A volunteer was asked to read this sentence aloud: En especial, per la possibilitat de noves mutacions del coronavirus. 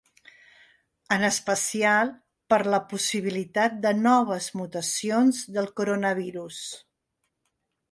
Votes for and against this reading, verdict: 3, 0, accepted